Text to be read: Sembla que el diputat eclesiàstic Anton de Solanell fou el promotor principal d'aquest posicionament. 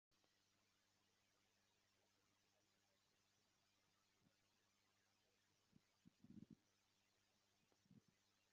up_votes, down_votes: 1, 2